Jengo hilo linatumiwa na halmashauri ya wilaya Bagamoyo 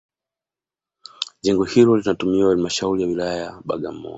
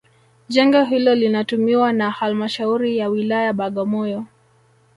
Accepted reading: first